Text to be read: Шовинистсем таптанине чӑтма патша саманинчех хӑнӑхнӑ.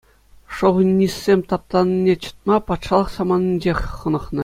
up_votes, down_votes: 2, 0